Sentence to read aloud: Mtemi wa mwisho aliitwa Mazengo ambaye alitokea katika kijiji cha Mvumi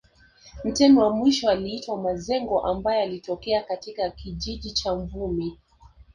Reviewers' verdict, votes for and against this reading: accepted, 2, 0